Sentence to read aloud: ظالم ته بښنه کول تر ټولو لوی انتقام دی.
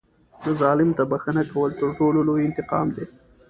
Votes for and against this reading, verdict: 2, 0, accepted